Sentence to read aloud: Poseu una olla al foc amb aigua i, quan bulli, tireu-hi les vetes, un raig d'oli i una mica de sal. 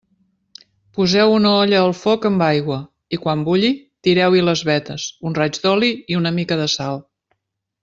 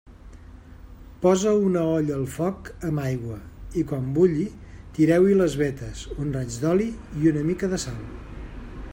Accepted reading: first